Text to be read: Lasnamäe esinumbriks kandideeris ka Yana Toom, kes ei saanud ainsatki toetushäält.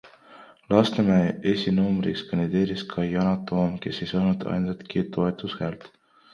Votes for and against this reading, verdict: 2, 0, accepted